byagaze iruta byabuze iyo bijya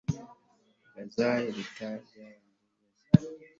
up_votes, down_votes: 1, 2